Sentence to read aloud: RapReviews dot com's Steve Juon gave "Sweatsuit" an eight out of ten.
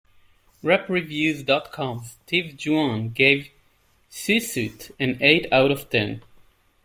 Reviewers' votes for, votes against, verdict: 0, 2, rejected